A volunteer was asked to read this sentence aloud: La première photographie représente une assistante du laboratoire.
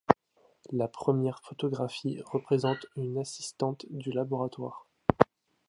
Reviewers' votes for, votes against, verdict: 2, 0, accepted